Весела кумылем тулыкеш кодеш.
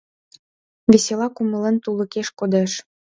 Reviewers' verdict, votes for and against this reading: accepted, 2, 0